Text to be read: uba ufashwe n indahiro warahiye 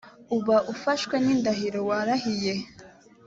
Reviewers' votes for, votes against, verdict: 2, 0, accepted